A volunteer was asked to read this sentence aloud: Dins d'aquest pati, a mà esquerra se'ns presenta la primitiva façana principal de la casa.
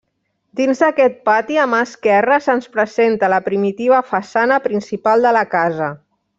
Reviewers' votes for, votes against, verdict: 1, 2, rejected